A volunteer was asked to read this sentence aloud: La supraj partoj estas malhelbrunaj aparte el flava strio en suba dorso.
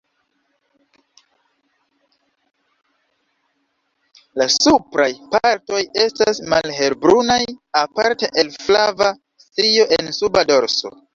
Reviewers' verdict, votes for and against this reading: rejected, 1, 2